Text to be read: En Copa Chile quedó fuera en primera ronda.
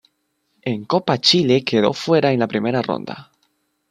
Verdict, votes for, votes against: rejected, 2, 3